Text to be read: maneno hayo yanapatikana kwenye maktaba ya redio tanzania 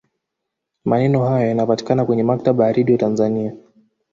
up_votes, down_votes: 0, 2